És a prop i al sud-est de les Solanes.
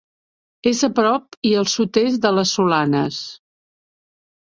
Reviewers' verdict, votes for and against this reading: accepted, 3, 0